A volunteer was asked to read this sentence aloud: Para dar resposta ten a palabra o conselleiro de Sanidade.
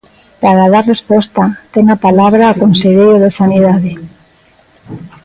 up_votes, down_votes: 1, 2